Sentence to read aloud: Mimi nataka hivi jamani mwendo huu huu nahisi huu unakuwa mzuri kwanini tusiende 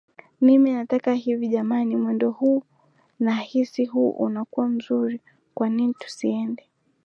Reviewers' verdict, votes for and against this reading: accepted, 2, 1